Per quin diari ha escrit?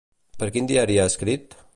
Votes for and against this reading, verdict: 2, 0, accepted